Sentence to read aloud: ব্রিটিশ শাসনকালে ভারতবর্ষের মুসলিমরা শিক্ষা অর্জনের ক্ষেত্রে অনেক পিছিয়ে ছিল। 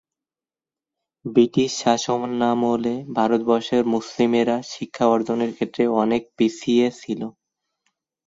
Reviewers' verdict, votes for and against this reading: rejected, 0, 2